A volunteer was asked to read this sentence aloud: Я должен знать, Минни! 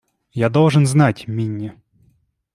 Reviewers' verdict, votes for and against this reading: accepted, 2, 0